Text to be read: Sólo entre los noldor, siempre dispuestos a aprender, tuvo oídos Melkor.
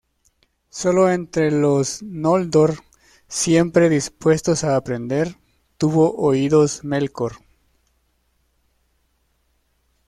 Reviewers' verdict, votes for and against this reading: rejected, 0, 2